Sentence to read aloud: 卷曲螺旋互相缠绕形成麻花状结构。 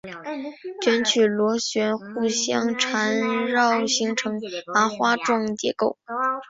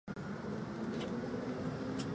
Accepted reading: first